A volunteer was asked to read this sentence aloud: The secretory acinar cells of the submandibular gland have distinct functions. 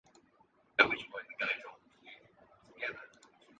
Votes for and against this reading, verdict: 0, 2, rejected